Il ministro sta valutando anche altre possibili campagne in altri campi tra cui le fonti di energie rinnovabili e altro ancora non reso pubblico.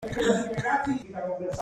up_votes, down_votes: 0, 2